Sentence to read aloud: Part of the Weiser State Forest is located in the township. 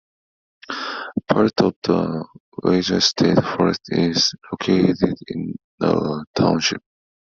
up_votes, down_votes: 2, 0